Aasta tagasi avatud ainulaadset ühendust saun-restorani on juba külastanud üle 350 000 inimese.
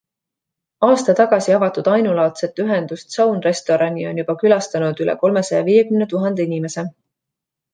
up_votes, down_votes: 0, 2